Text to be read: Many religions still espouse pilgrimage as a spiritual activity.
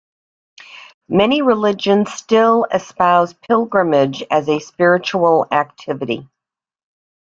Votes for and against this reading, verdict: 2, 0, accepted